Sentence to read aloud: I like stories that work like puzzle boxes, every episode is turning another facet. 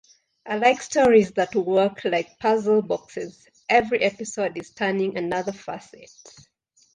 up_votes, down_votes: 2, 0